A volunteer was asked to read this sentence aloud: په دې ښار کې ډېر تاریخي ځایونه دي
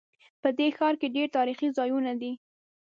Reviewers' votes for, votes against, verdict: 2, 0, accepted